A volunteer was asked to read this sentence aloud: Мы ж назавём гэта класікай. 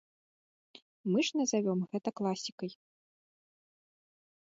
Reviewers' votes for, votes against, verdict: 2, 0, accepted